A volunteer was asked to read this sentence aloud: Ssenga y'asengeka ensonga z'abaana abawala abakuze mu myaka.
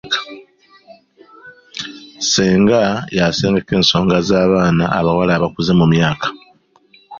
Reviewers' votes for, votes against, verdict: 2, 0, accepted